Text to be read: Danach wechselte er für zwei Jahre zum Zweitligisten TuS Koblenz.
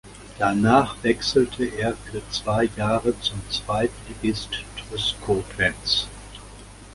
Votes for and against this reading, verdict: 0, 2, rejected